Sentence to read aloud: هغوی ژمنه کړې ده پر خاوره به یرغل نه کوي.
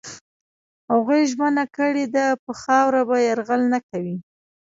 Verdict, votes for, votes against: rejected, 1, 2